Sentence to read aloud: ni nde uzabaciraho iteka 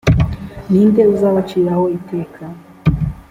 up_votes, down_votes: 2, 0